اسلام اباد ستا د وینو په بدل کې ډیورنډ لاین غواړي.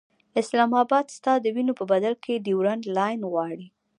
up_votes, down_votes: 2, 0